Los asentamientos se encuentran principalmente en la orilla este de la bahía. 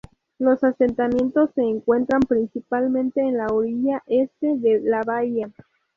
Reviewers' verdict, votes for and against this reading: accepted, 2, 0